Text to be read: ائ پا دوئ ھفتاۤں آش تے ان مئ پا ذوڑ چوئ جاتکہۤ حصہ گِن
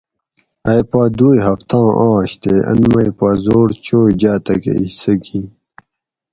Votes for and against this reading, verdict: 4, 0, accepted